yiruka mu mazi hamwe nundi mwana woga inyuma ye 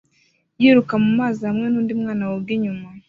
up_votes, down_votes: 2, 1